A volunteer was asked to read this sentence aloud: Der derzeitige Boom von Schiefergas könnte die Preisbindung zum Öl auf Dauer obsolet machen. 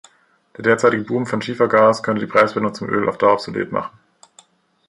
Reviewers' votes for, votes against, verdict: 0, 2, rejected